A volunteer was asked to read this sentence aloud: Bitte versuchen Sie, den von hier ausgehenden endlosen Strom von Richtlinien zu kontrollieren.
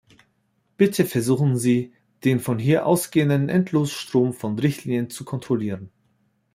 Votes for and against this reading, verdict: 1, 2, rejected